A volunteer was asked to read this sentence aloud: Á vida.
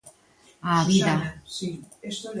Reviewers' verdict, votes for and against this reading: rejected, 0, 2